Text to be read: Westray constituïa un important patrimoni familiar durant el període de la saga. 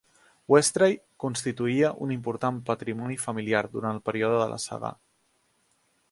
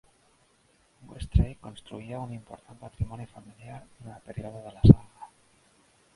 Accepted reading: first